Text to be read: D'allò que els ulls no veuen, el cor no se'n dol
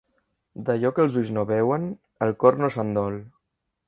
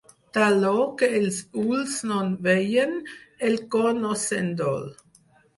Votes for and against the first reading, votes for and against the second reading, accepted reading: 2, 0, 2, 4, first